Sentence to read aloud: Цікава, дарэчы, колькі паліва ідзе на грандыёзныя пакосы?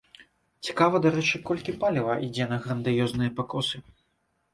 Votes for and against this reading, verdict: 2, 0, accepted